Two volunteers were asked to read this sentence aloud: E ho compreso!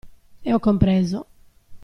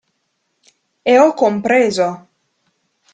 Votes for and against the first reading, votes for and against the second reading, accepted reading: 2, 0, 0, 2, first